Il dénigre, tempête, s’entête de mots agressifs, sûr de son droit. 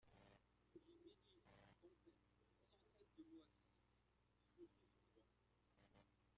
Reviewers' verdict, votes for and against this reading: rejected, 0, 2